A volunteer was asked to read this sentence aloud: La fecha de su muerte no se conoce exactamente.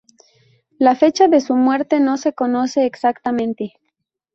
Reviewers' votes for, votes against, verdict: 2, 0, accepted